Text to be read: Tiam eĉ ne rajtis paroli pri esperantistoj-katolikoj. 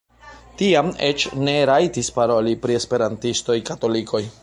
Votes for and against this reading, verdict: 1, 2, rejected